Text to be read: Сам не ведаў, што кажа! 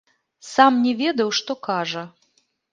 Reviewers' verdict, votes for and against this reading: rejected, 3, 4